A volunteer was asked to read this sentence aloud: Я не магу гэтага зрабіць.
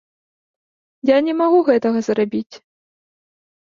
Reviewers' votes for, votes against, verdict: 2, 0, accepted